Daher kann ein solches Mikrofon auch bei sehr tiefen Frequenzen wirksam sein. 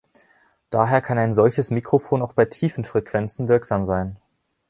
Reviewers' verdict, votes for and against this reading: rejected, 0, 2